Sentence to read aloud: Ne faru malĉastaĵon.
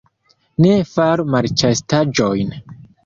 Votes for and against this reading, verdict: 2, 1, accepted